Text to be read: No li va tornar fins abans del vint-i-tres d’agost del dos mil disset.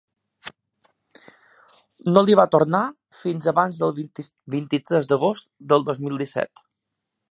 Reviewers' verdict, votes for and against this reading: rejected, 0, 2